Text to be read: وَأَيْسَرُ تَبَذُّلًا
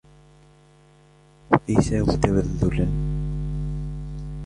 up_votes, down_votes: 2, 0